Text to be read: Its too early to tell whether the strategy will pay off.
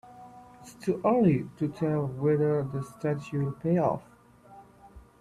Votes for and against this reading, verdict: 0, 2, rejected